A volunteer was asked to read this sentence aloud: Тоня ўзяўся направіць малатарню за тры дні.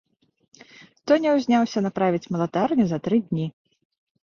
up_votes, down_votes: 1, 2